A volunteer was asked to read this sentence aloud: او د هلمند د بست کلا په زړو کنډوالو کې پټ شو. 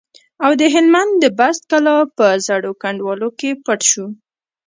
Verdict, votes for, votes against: rejected, 0, 2